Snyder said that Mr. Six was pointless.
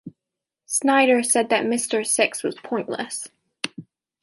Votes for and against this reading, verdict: 3, 0, accepted